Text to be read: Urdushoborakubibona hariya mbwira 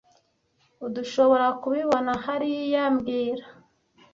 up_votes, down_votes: 1, 2